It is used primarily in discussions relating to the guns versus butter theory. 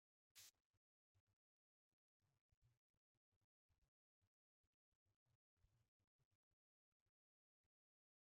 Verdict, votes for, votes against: rejected, 0, 2